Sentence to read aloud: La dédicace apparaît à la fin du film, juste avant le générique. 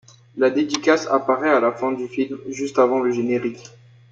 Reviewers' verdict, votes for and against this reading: accepted, 2, 0